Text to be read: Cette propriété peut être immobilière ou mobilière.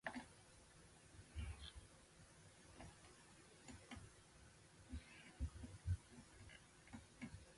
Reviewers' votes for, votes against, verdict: 0, 2, rejected